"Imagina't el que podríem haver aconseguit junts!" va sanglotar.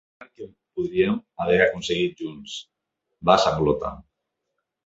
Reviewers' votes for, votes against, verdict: 1, 2, rejected